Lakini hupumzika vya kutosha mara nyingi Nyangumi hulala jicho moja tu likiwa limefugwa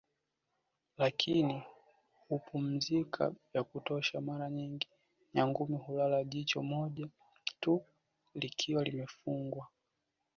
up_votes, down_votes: 0, 2